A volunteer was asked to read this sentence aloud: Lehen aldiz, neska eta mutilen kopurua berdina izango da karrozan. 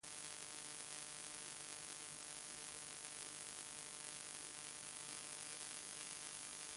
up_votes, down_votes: 0, 2